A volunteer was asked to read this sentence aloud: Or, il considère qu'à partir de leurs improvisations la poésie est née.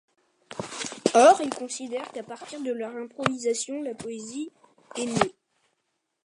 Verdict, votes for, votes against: accepted, 2, 0